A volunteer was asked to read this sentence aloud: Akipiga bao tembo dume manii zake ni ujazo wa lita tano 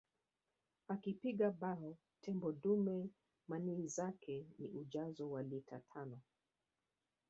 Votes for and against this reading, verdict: 0, 2, rejected